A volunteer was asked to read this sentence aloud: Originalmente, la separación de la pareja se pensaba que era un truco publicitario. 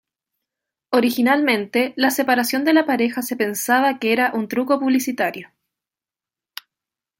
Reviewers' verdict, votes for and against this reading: accepted, 2, 0